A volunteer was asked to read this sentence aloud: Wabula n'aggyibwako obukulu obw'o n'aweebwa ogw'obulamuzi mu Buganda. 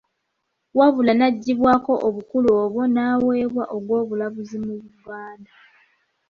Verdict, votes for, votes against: accepted, 2, 0